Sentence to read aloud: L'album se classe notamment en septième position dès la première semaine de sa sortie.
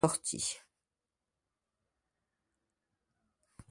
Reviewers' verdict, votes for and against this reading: rejected, 0, 2